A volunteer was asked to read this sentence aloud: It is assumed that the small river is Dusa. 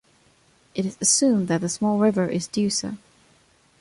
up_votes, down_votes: 2, 0